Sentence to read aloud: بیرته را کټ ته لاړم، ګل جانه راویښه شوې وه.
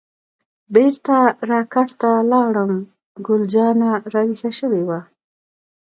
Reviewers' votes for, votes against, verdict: 2, 1, accepted